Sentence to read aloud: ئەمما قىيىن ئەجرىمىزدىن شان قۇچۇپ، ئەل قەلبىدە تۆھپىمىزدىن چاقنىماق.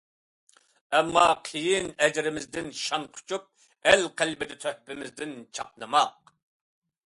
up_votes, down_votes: 2, 0